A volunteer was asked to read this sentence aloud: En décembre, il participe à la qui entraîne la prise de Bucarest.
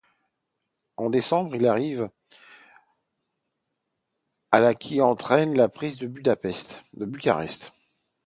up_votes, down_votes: 0, 2